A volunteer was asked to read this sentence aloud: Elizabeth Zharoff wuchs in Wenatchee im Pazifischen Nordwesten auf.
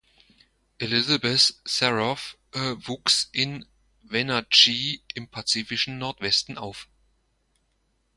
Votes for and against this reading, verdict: 1, 2, rejected